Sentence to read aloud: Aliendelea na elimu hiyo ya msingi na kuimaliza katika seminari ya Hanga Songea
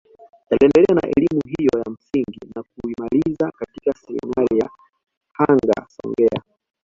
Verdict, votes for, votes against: accepted, 2, 0